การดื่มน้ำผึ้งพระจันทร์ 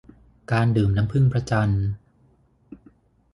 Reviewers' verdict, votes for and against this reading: accepted, 6, 0